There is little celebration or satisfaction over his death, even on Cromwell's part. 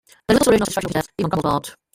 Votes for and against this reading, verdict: 0, 3, rejected